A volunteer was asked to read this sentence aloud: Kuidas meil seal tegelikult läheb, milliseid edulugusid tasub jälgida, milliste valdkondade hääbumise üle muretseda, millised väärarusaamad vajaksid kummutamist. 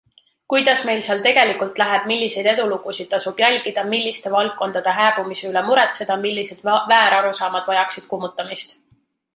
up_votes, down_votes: 1, 2